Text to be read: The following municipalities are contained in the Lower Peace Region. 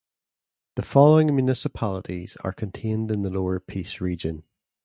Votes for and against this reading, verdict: 2, 0, accepted